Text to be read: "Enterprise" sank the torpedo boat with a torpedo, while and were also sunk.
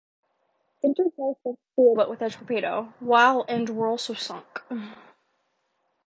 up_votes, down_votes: 1, 2